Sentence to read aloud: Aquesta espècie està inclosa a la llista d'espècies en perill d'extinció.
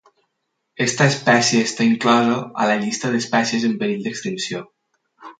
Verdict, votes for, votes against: rejected, 0, 4